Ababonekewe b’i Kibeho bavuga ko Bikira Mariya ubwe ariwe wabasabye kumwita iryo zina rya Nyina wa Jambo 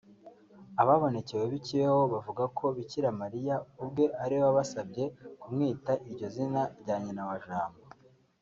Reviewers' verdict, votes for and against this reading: accepted, 3, 0